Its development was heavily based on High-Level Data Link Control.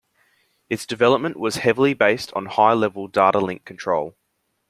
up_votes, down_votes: 2, 0